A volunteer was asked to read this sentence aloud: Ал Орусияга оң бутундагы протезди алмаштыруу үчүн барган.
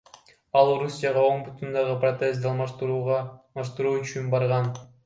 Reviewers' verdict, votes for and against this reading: rejected, 1, 2